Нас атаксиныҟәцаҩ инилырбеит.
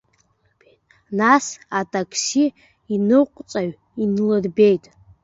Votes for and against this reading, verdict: 1, 2, rejected